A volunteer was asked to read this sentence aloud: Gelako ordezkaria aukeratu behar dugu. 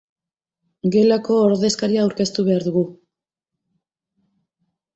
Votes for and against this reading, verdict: 0, 3, rejected